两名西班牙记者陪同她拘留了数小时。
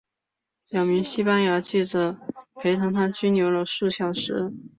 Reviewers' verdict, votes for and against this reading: accepted, 2, 0